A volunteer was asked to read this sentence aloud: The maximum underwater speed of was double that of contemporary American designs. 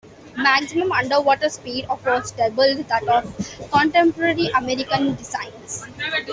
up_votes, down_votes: 2, 0